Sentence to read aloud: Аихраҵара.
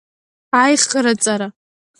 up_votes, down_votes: 1, 2